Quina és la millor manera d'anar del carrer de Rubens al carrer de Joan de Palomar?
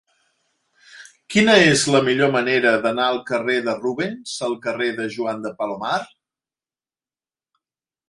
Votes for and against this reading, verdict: 0, 2, rejected